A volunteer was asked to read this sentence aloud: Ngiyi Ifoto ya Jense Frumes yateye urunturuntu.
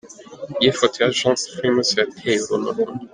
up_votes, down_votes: 0, 2